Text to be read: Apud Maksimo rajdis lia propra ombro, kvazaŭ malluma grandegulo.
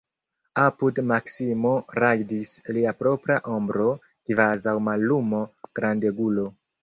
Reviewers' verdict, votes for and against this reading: rejected, 1, 2